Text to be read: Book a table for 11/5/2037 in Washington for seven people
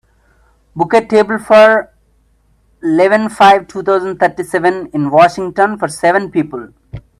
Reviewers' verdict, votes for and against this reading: rejected, 0, 2